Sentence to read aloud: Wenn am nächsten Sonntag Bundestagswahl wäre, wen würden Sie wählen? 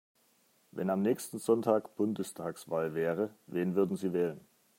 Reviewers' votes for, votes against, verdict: 3, 0, accepted